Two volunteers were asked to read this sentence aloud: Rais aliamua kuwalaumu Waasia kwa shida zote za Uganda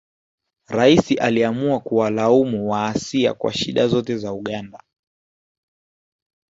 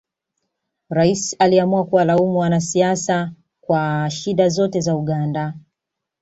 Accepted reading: first